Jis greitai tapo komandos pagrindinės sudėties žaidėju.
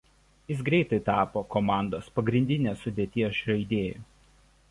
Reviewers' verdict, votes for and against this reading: rejected, 1, 2